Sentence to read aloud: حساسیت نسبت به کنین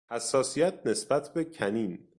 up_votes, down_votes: 2, 0